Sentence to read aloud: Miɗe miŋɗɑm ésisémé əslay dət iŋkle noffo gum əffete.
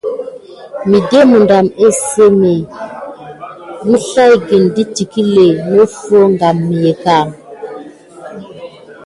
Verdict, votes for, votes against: accepted, 2, 0